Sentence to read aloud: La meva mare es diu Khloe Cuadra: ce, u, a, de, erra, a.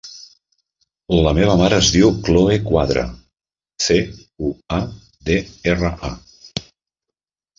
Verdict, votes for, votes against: rejected, 0, 2